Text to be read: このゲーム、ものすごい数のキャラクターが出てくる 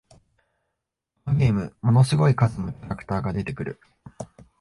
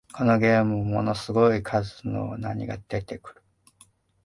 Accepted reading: first